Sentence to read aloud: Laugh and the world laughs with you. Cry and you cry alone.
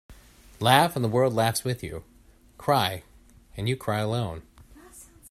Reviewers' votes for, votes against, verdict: 2, 0, accepted